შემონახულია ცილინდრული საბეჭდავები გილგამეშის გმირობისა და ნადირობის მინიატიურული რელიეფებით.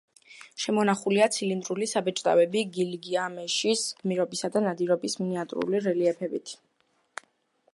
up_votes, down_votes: 1, 2